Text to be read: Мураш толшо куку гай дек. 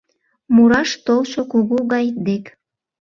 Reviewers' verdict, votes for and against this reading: rejected, 0, 2